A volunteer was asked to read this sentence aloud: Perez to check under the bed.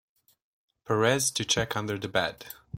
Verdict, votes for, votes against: accepted, 2, 0